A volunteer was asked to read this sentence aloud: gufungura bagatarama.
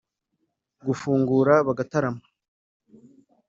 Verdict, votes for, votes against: accepted, 4, 0